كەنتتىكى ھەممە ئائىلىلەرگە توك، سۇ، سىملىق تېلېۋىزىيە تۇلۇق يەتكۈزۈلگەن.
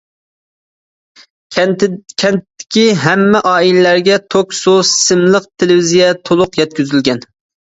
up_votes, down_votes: 0, 2